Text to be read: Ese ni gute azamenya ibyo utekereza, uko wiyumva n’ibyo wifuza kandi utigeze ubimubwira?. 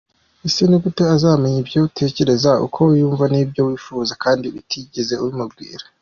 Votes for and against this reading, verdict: 2, 0, accepted